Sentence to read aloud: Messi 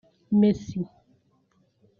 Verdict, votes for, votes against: rejected, 0, 2